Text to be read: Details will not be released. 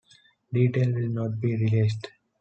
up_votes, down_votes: 2, 1